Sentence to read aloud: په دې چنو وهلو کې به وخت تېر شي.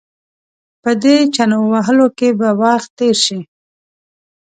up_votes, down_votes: 2, 0